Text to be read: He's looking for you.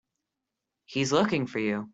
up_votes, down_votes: 2, 0